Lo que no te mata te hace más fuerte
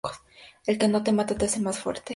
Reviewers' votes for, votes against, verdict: 2, 0, accepted